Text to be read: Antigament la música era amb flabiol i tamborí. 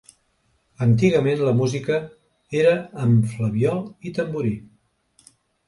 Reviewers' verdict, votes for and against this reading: accepted, 3, 0